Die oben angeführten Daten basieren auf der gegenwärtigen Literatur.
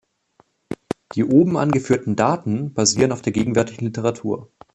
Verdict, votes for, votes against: accepted, 2, 1